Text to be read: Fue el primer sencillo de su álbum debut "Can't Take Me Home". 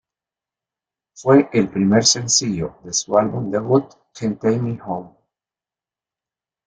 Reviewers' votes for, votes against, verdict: 2, 0, accepted